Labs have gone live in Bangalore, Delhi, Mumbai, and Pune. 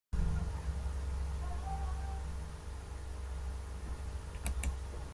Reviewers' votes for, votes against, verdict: 0, 2, rejected